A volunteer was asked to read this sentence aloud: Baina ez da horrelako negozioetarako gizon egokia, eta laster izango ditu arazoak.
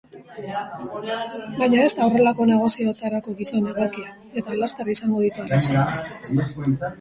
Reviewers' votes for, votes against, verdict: 0, 2, rejected